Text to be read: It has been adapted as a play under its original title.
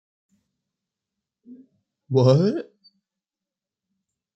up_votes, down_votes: 0, 2